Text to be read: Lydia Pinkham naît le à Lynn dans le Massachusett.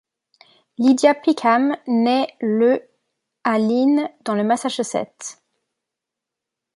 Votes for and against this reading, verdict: 0, 2, rejected